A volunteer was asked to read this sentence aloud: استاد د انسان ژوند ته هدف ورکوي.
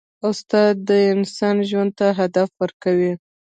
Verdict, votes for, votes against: rejected, 1, 2